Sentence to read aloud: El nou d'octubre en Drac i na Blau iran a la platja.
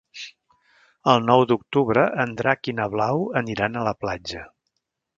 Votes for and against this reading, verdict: 1, 2, rejected